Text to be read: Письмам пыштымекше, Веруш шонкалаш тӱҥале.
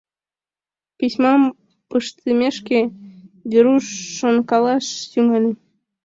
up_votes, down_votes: 1, 2